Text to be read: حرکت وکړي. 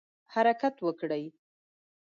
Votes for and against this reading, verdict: 0, 2, rejected